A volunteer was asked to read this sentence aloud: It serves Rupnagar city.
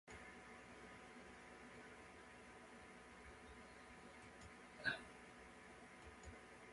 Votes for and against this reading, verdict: 0, 2, rejected